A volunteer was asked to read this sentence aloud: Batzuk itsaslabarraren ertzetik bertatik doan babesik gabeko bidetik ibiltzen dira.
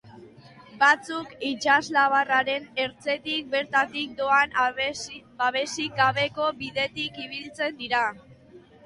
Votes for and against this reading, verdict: 0, 2, rejected